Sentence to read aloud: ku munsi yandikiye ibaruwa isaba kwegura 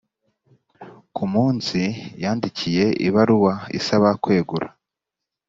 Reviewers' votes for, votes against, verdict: 2, 0, accepted